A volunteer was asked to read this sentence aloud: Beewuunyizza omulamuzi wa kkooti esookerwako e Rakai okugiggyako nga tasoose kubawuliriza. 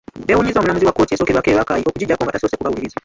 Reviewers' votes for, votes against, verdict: 0, 2, rejected